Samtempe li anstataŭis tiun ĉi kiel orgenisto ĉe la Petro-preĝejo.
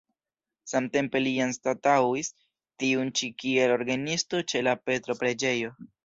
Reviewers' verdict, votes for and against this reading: accepted, 2, 1